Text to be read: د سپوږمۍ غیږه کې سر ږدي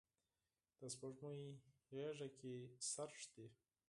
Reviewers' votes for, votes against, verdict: 0, 4, rejected